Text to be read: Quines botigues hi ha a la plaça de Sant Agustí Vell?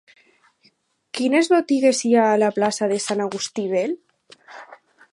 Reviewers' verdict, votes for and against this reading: accepted, 8, 0